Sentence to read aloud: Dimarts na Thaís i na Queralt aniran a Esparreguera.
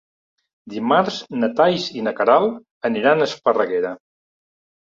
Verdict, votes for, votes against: rejected, 1, 2